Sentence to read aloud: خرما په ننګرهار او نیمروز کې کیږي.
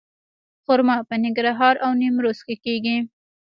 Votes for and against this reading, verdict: 1, 2, rejected